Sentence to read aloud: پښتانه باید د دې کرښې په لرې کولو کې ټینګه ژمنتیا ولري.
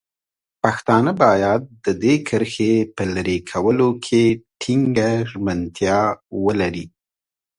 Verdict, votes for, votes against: accepted, 2, 0